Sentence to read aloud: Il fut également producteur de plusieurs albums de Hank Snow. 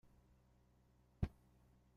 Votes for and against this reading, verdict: 0, 2, rejected